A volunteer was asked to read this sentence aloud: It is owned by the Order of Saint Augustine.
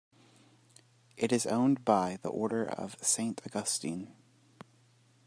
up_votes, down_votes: 2, 1